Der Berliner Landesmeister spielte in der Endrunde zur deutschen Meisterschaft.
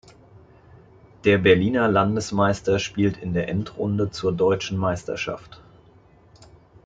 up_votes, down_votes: 2, 0